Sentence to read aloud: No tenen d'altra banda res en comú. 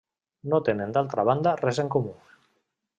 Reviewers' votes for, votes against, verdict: 3, 0, accepted